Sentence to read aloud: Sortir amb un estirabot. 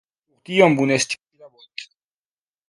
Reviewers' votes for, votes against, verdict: 0, 3, rejected